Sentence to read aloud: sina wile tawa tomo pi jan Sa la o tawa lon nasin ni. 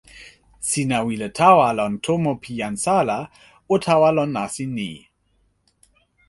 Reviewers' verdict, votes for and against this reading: rejected, 1, 2